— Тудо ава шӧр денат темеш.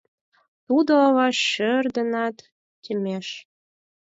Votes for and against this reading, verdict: 2, 4, rejected